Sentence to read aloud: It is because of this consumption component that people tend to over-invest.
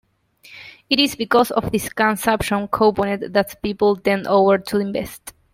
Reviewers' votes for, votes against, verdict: 0, 2, rejected